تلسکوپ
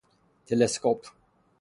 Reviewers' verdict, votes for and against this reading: accepted, 6, 0